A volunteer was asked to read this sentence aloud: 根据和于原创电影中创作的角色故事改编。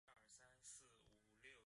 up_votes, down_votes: 0, 2